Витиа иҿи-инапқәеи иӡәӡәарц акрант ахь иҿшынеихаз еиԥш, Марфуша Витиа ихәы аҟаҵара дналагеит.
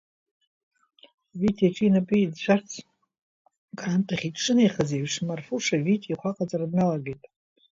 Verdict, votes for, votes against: rejected, 1, 2